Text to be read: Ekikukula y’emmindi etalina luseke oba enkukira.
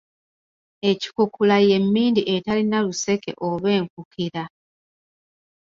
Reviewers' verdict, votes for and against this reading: accepted, 2, 0